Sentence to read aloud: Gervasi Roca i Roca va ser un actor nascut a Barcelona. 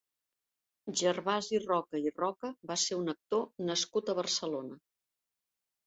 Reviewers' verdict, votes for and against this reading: accepted, 2, 0